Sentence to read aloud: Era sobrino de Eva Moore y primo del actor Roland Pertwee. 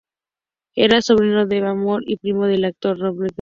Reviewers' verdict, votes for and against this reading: rejected, 0, 2